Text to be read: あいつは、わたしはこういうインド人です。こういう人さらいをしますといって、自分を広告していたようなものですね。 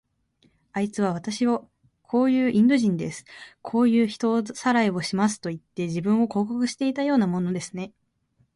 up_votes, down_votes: 2, 1